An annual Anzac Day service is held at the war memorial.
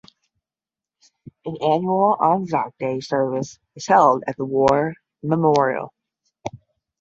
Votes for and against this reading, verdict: 10, 0, accepted